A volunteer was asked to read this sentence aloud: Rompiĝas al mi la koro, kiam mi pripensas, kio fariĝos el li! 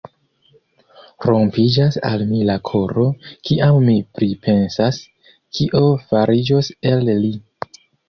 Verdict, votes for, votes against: rejected, 1, 2